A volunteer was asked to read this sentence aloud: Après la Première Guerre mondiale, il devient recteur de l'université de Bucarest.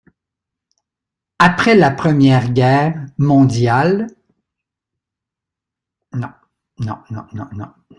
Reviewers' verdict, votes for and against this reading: rejected, 0, 2